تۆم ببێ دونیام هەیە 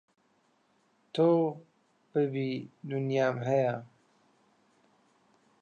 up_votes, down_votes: 0, 2